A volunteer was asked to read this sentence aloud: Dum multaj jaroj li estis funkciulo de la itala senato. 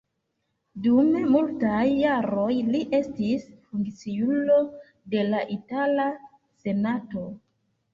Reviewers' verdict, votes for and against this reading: rejected, 1, 2